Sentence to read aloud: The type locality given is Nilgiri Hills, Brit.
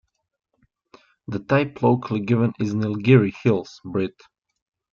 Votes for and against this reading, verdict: 0, 2, rejected